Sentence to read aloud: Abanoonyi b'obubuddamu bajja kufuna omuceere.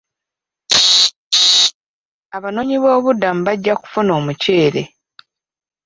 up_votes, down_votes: 0, 2